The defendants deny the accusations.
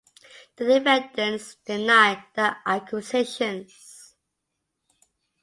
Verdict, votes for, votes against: rejected, 0, 2